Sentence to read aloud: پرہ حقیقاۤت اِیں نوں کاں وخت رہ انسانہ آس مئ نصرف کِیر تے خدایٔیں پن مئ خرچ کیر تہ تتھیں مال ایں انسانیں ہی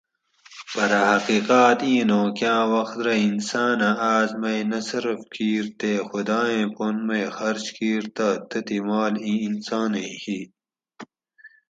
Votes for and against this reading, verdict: 2, 2, rejected